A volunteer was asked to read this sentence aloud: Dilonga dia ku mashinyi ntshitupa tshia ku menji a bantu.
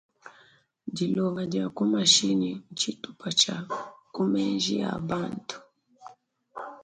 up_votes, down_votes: 1, 2